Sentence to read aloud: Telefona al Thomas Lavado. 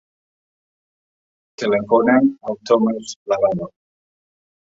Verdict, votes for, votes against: rejected, 0, 3